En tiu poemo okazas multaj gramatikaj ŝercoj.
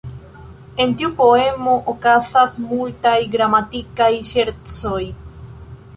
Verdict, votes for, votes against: rejected, 0, 2